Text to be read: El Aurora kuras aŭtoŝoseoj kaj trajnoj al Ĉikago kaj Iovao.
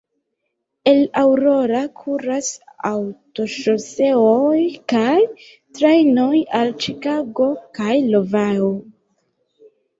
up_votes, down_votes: 0, 2